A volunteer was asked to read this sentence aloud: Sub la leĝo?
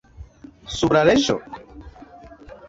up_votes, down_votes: 2, 0